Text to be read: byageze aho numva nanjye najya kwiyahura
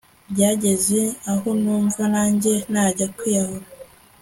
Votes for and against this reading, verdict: 2, 0, accepted